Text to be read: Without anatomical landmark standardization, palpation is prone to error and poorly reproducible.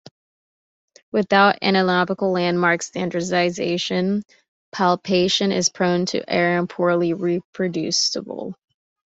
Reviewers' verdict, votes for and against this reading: rejected, 0, 2